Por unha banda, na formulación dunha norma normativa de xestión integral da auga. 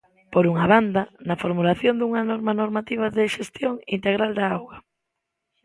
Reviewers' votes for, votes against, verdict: 2, 0, accepted